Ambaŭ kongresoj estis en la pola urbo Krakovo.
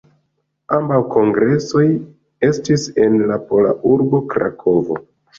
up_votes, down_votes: 3, 2